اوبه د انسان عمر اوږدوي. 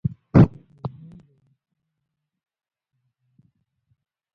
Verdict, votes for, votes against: rejected, 1, 2